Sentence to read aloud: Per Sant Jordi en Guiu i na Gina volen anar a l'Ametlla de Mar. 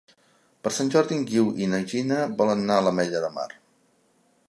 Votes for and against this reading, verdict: 2, 0, accepted